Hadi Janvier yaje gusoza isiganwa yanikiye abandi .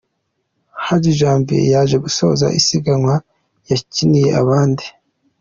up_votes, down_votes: 2, 0